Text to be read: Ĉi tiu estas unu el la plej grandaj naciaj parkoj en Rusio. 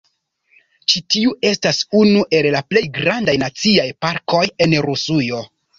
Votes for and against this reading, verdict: 1, 3, rejected